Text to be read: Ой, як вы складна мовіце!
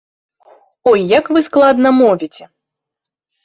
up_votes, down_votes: 2, 0